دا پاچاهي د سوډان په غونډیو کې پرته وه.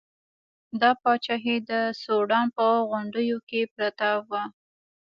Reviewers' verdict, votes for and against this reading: accepted, 2, 0